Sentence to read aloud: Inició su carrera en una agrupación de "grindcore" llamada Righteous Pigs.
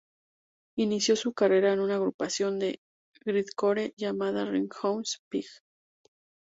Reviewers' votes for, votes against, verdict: 0, 2, rejected